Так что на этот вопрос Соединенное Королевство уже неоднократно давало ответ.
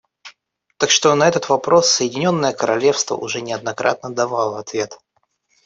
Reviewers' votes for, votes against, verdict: 2, 0, accepted